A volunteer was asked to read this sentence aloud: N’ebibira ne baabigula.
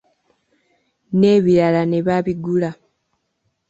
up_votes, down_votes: 2, 0